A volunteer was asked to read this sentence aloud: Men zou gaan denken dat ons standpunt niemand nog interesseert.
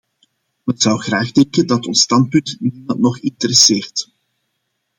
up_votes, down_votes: 0, 2